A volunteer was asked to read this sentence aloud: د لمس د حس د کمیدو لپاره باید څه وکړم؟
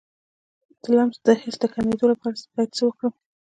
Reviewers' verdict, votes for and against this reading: accepted, 2, 1